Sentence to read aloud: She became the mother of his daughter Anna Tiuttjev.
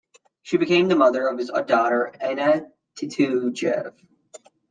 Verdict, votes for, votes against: rejected, 0, 2